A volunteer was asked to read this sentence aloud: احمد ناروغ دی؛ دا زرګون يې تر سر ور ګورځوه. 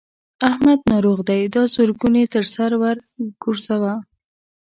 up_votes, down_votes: 2, 0